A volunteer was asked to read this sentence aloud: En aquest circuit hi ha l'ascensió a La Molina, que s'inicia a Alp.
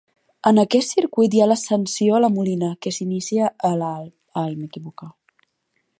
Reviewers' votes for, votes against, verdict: 0, 3, rejected